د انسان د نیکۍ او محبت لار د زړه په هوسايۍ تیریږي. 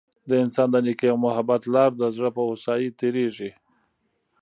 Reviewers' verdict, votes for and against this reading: rejected, 1, 2